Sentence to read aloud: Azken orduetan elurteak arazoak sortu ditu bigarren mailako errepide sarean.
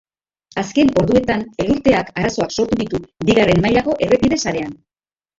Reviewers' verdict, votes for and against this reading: rejected, 0, 2